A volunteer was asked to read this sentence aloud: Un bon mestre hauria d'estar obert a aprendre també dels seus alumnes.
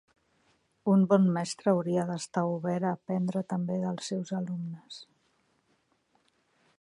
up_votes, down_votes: 2, 0